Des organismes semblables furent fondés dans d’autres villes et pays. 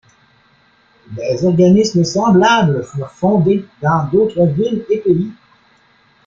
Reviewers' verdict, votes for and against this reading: accepted, 2, 1